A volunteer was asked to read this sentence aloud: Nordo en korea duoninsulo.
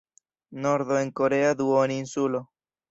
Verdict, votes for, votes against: accepted, 2, 0